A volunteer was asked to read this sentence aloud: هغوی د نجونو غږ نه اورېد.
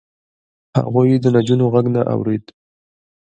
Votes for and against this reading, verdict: 2, 1, accepted